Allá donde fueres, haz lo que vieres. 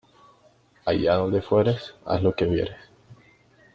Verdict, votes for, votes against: rejected, 1, 2